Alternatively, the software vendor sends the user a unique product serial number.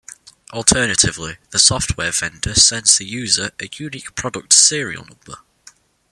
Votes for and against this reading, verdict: 1, 2, rejected